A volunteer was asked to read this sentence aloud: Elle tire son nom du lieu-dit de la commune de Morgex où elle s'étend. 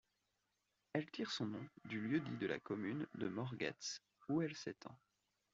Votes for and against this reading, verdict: 1, 2, rejected